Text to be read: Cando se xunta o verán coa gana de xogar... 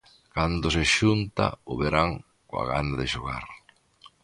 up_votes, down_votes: 2, 0